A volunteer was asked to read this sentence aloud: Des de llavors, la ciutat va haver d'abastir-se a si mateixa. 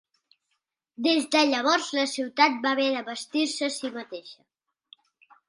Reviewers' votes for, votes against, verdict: 2, 0, accepted